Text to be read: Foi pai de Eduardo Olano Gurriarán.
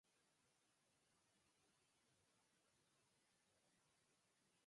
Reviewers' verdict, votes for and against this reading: rejected, 0, 6